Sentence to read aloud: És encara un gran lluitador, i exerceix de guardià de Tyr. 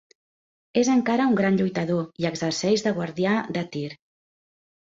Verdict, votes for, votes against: accepted, 2, 0